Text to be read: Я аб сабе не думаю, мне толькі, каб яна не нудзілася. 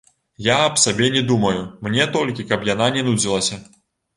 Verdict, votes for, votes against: accepted, 2, 0